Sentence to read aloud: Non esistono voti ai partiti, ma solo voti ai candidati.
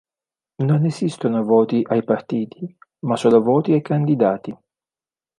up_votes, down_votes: 2, 0